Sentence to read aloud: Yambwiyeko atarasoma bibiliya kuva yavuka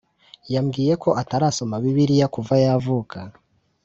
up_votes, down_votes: 2, 0